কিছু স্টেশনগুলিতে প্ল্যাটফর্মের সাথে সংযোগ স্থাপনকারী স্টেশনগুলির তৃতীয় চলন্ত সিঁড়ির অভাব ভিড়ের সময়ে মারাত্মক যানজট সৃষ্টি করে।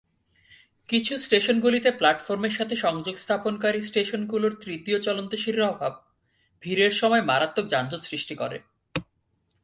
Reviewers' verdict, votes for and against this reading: accepted, 2, 0